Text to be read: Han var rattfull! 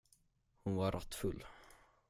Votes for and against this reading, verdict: 5, 10, rejected